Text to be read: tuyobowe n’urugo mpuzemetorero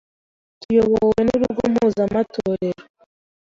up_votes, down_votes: 1, 2